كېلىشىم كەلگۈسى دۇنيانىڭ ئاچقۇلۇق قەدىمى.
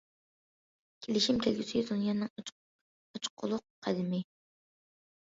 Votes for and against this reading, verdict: 0, 2, rejected